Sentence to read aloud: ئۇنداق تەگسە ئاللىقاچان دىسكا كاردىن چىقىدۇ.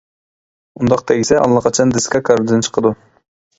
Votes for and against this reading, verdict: 2, 1, accepted